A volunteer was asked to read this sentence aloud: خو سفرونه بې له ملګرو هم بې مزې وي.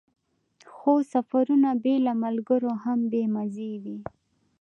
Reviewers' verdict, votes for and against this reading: rejected, 1, 2